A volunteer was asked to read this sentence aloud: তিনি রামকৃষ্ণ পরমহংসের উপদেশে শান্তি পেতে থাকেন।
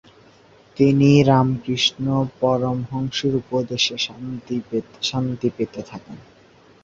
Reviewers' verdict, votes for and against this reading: rejected, 1, 2